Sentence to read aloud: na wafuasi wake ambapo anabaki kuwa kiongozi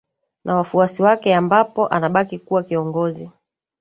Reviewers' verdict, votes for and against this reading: accepted, 3, 1